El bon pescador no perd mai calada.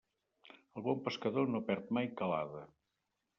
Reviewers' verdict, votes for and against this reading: rejected, 0, 2